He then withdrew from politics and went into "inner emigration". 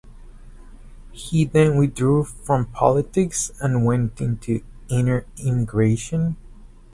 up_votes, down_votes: 4, 0